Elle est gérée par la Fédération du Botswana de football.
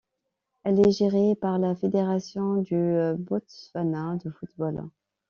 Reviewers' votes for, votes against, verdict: 2, 1, accepted